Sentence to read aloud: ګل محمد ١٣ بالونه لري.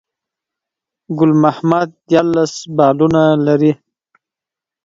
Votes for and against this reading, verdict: 0, 2, rejected